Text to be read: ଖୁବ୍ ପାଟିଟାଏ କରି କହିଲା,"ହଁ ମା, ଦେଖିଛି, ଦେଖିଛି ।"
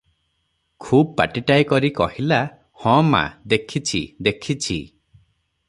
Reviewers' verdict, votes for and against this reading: accepted, 3, 0